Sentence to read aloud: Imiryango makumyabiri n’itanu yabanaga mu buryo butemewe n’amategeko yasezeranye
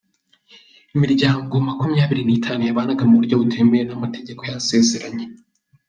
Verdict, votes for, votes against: accepted, 2, 0